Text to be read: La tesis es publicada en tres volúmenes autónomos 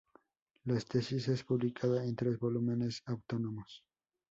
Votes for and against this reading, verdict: 0, 2, rejected